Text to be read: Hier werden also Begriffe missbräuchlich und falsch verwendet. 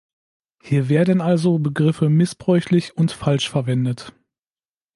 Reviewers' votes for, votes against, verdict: 2, 0, accepted